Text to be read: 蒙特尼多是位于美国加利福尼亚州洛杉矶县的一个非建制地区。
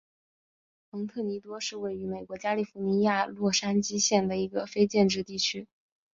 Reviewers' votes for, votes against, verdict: 1, 2, rejected